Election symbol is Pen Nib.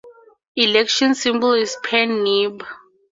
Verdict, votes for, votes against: rejected, 0, 4